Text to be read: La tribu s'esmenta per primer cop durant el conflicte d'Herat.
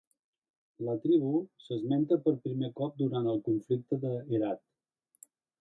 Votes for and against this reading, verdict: 1, 2, rejected